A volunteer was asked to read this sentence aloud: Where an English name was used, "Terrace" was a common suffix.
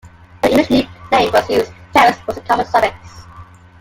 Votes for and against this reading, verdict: 1, 2, rejected